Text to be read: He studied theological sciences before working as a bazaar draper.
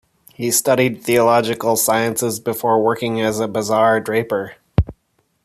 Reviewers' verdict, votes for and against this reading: accepted, 2, 0